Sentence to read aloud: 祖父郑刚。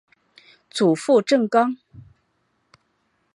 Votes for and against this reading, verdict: 2, 0, accepted